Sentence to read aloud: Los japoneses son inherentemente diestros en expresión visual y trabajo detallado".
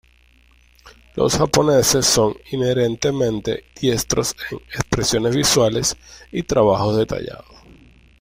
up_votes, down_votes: 0, 2